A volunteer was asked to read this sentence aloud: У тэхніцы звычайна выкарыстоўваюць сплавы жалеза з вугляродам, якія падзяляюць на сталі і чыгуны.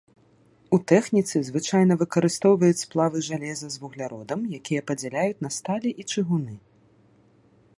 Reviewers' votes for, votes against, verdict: 2, 0, accepted